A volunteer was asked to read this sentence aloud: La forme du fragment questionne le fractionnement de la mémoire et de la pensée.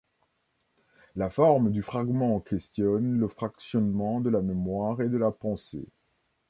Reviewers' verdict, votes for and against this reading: accepted, 2, 0